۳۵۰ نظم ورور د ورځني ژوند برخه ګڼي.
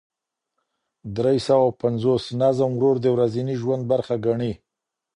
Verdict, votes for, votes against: rejected, 0, 2